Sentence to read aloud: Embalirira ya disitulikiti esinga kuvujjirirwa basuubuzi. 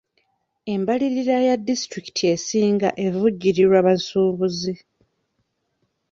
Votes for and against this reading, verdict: 0, 2, rejected